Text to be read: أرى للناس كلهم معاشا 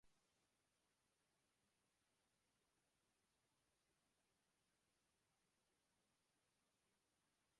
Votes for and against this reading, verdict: 0, 2, rejected